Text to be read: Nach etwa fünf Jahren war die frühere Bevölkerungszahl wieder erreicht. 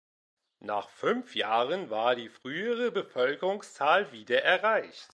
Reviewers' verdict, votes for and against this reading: rejected, 0, 2